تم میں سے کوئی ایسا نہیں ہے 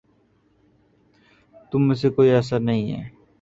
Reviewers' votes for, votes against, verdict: 2, 0, accepted